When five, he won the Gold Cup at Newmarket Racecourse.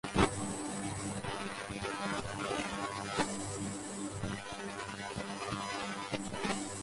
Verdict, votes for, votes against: rejected, 0, 2